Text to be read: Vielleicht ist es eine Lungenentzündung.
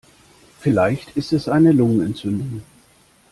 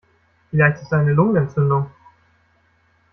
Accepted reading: first